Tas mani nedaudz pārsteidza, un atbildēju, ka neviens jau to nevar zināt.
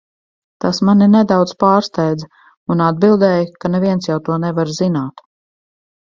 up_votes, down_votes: 2, 0